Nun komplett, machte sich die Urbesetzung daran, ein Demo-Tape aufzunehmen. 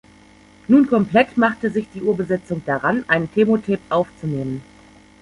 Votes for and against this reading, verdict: 1, 2, rejected